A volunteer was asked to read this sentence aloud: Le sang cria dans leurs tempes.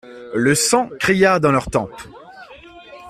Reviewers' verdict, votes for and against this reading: rejected, 1, 2